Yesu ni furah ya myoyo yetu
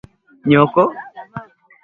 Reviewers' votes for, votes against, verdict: 0, 2, rejected